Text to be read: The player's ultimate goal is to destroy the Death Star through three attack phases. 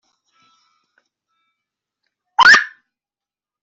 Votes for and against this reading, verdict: 0, 2, rejected